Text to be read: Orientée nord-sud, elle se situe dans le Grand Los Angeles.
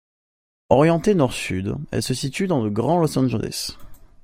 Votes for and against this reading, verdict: 2, 0, accepted